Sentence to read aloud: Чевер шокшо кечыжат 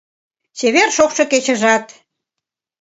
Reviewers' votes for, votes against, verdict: 2, 0, accepted